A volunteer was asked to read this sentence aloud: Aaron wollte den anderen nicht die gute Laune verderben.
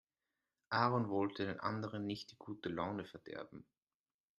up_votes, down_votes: 0, 2